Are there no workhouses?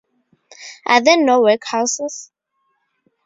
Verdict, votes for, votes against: accepted, 2, 0